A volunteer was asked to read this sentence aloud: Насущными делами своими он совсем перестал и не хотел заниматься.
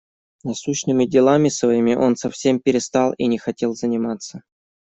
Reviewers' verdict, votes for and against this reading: accepted, 2, 0